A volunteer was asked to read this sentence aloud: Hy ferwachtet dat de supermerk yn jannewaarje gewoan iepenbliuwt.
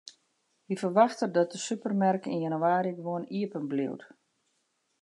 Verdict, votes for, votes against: accepted, 2, 0